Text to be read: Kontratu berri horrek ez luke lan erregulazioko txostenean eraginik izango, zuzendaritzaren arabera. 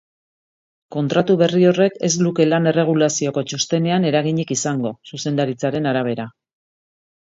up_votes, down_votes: 3, 0